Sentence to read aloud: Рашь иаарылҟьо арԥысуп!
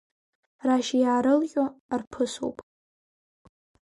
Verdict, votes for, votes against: accepted, 4, 2